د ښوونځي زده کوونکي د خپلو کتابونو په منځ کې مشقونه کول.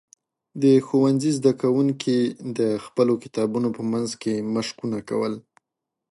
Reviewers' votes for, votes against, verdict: 2, 0, accepted